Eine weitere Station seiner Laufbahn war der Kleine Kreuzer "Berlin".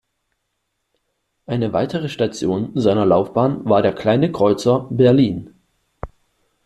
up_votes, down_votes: 2, 0